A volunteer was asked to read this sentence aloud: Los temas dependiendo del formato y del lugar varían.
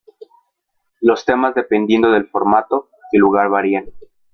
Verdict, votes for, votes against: rejected, 0, 2